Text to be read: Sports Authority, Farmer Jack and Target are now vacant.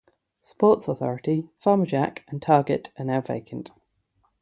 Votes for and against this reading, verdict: 3, 0, accepted